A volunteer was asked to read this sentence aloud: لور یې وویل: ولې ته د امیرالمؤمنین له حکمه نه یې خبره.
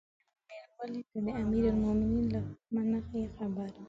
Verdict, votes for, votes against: rejected, 0, 6